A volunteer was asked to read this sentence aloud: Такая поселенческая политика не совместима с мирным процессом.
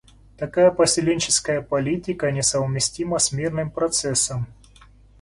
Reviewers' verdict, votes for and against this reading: accepted, 2, 0